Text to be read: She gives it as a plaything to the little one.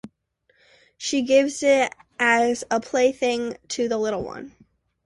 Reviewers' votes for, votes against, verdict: 2, 0, accepted